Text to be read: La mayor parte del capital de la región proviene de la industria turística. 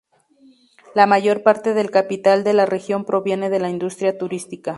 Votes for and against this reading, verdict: 2, 0, accepted